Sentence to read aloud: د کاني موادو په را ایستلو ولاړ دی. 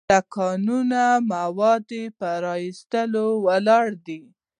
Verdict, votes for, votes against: rejected, 0, 2